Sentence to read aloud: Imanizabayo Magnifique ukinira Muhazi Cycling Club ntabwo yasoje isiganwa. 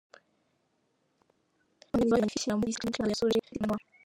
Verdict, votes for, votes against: rejected, 0, 2